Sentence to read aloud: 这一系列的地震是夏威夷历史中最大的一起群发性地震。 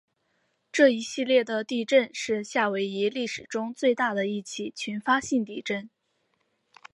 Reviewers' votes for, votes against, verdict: 5, 1, accepted